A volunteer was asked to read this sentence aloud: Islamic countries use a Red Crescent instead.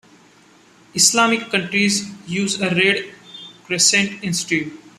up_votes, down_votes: 1, 2